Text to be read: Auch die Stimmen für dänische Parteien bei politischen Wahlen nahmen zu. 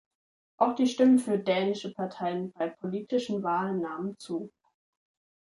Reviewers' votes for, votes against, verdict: 2, 0, accepted